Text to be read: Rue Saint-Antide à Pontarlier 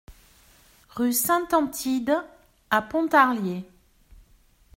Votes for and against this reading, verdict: 2, 0, accepted